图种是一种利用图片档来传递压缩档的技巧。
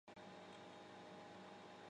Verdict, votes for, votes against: rejected, 1, 2